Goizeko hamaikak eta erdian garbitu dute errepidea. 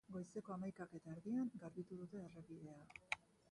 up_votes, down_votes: 1, 3